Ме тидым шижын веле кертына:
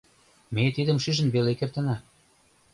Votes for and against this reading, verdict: 2, 0, accepted